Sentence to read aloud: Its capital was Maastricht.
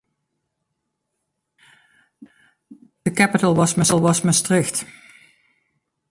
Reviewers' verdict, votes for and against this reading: rejected, 1, 2